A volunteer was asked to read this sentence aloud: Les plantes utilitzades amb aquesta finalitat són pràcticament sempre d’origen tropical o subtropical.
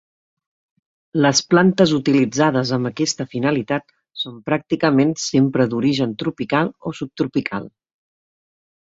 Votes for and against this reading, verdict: 2, 0, accepted